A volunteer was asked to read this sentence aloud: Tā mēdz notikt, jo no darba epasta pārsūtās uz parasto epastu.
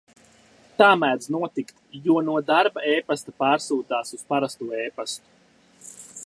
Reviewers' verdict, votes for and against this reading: accepted, 2, 0